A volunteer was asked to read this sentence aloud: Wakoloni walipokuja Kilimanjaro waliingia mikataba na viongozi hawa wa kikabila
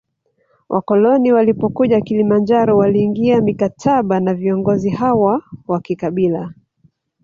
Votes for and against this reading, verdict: 3, 0, accepted